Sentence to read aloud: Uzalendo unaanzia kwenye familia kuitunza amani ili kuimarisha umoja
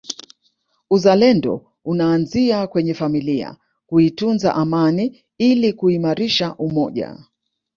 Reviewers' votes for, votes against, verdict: 2, 1, accepted